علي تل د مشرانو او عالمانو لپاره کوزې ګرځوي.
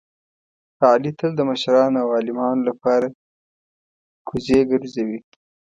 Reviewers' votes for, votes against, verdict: 2, 0, accepted